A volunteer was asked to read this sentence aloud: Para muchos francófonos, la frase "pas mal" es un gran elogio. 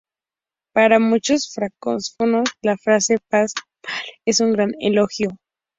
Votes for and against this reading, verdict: 0, 2, rejected